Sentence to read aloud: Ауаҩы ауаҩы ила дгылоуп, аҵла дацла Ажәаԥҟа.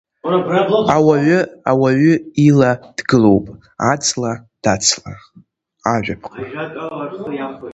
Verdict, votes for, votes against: accepted, 2, 1